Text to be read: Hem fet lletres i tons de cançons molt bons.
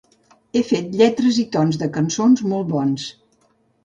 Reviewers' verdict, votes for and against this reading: rejected, 0, 2